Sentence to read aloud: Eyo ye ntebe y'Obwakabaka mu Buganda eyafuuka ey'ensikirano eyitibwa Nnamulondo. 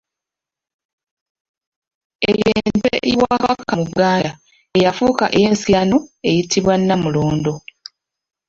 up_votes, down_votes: 0, 2